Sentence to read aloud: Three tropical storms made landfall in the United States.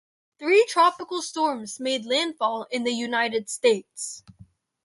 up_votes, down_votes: 4, 0